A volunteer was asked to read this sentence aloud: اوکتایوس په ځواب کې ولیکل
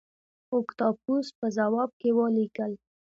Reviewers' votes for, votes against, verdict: 2, 1, accepted